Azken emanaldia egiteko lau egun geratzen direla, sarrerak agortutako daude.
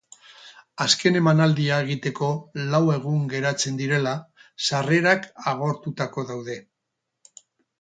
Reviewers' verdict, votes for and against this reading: rejected, 0, 2